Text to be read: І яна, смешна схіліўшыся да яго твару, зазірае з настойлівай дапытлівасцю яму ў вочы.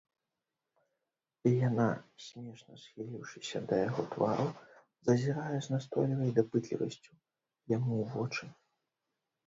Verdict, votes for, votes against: rejected, 1, 2